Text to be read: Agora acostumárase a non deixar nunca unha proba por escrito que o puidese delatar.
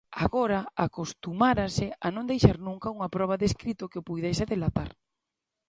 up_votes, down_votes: 0, 2